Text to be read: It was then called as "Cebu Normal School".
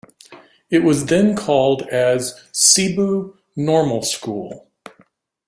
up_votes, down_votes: 2, 0